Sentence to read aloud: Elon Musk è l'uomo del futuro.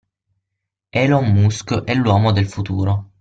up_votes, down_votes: 6, 0